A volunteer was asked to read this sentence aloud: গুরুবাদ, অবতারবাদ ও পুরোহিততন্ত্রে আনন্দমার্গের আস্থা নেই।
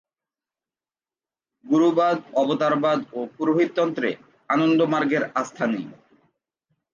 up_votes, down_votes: 2, 0